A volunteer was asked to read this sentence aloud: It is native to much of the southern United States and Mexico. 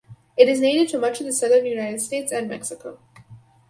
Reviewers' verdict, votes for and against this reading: rejected, 2, 2